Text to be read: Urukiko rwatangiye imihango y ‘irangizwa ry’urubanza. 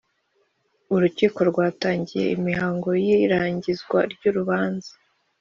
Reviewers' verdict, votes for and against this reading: accepted, 2, 0